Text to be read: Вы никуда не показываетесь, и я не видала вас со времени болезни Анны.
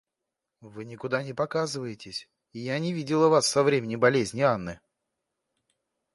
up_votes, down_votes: 1, 2